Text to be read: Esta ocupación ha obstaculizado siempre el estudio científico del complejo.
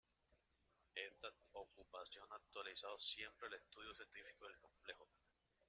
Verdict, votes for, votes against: rejected, 0, 2